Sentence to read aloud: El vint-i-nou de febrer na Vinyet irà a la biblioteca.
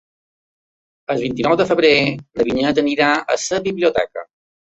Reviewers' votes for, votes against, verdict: 0, 2, rejected